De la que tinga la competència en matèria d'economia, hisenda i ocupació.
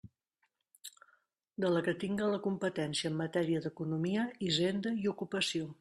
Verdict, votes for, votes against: accepted, 3, 0